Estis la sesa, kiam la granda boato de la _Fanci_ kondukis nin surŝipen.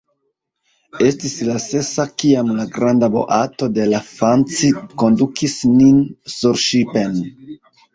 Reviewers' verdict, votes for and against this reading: rejected, 1, 2